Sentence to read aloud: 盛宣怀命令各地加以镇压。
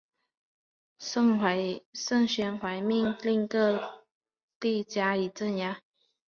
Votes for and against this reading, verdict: 1, 2, rejected